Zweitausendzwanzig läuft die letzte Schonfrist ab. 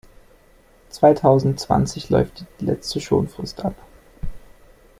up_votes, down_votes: 2, 0